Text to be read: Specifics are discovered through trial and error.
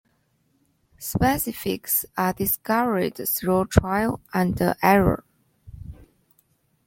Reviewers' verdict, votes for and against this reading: accepted, 2, 1